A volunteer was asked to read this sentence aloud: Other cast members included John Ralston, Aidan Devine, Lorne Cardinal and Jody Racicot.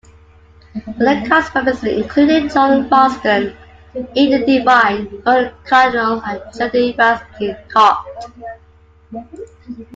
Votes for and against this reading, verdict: 0, 2, rejected